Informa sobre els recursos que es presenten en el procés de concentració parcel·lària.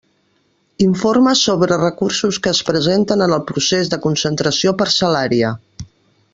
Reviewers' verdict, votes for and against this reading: rejected, 0, 2